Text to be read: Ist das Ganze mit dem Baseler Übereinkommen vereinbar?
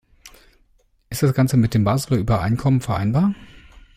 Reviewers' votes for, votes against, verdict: 2, 0, accepted